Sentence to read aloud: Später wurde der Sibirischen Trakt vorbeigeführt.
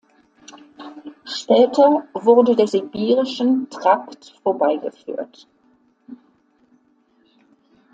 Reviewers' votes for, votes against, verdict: 2, 0, accepted